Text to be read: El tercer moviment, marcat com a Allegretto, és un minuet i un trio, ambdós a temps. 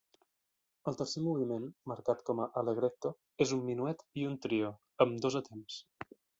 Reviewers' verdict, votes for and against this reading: rejected, 1, 2